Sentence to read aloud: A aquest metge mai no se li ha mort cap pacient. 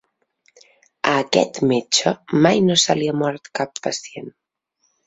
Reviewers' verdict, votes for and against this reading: accepted, 3, 0